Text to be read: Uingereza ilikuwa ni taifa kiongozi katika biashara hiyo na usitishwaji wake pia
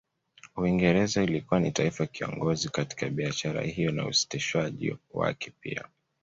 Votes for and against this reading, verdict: 2, 0, accepted